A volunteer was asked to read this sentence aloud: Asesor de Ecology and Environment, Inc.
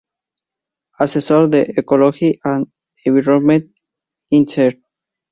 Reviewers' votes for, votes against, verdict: 2, 0, accepted